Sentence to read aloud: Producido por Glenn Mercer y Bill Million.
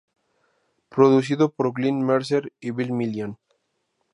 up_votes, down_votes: 2, 0